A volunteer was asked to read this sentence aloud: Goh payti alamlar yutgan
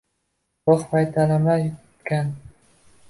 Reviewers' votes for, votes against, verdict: 0, 2, rejected